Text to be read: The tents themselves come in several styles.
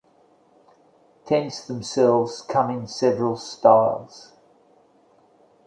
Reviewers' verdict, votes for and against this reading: rejected, 1, 2